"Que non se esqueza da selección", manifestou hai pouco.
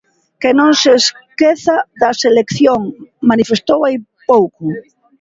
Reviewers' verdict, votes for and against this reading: accepted, 2, 0